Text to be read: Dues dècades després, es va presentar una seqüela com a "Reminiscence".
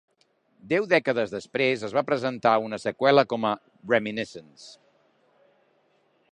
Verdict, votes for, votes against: rejected, 0, 2